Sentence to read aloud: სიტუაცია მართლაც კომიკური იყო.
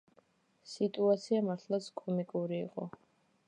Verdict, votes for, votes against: accepted, 2, 0